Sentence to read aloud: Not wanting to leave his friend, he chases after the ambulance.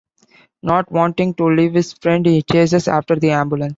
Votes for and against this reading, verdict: 0, 2, rejected